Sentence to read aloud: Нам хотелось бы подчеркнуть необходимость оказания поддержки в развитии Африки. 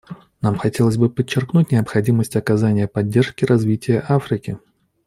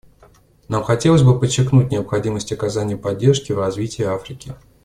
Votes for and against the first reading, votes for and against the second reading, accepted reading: 1, 2, 2, 0, second